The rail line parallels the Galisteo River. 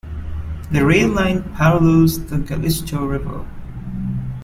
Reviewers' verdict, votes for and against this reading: rejected, 0, 2